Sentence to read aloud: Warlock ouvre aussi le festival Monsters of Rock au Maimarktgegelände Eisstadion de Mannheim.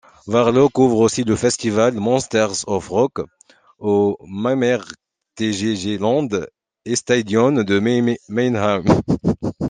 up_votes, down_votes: 0, 2